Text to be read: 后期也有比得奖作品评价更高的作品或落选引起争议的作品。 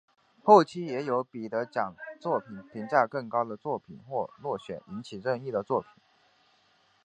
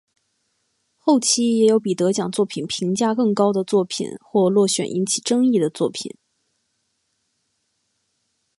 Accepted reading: second